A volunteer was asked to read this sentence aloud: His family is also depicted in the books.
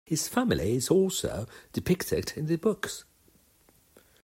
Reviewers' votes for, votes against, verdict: 2, 0, accepted